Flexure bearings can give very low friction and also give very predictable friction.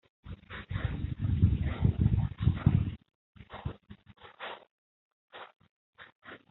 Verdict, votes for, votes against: rejected, 0, 3